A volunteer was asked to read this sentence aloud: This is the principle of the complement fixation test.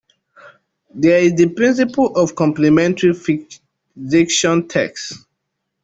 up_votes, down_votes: 0, 3